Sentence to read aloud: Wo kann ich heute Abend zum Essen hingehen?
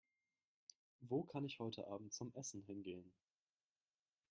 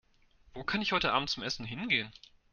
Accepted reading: second